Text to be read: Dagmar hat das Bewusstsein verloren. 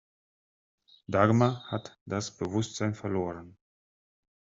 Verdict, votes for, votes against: rejected, 0, 3